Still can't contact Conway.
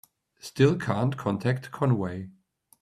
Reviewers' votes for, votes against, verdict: 2, 0, accepted